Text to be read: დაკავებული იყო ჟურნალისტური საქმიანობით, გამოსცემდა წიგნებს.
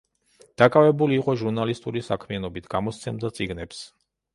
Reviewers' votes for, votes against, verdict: 2, 0, accepted